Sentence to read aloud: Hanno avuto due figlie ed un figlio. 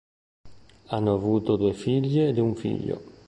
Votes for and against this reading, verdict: 2, 0, accepted